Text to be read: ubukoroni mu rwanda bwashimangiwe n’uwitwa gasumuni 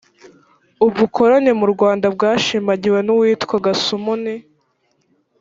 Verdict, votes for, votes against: rejected, 1, 2